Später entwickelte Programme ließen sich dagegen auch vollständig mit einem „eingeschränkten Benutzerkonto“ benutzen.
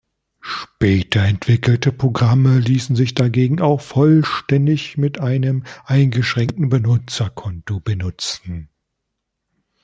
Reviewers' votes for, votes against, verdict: 2, 0, accepted